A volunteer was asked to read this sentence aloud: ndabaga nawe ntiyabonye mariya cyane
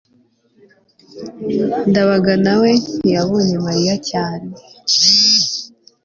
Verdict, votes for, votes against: accepted, 3, 0